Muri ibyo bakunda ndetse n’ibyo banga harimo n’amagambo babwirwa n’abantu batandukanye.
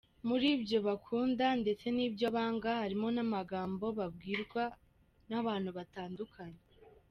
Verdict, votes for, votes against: accepted, 2, 0